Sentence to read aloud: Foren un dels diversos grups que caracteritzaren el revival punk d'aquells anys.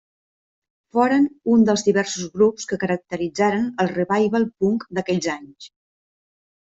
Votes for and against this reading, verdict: 1, 2, rejected